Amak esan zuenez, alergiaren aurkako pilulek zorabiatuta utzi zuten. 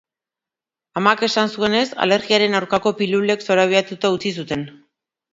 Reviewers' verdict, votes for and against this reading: accepted, 2, 0